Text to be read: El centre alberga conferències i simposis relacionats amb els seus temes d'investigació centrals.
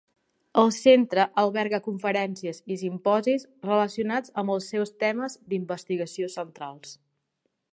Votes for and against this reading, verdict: 3, 0, accepted